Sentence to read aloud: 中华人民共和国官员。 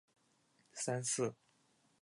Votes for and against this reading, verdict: 0, 2, rejected